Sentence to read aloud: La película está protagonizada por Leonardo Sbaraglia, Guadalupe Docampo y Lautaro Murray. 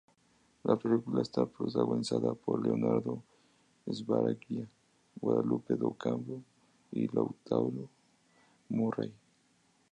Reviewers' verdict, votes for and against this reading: accepted, 2, 0